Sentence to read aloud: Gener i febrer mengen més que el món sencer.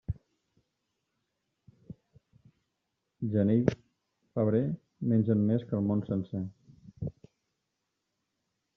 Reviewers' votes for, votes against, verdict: 1, 2, rejected